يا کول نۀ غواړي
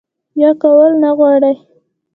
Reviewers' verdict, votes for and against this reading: rejected, 1, 2